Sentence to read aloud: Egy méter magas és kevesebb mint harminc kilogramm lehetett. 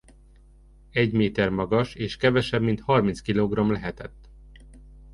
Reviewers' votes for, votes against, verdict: 2, 0, accepted